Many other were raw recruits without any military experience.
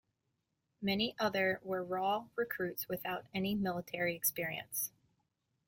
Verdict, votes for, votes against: accepted, 3, 0